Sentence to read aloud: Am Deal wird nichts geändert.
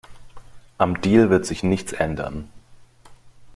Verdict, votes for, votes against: rejected, 0, 2